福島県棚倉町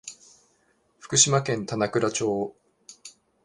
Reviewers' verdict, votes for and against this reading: rejected, 1, 2